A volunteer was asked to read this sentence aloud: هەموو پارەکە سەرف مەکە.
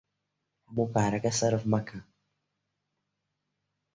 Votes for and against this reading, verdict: 0, 3, rejected